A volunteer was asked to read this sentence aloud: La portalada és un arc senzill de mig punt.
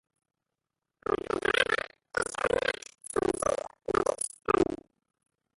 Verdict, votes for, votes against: rejected, 0, 2